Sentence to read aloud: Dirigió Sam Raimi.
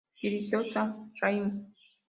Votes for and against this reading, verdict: 2, 0, accepted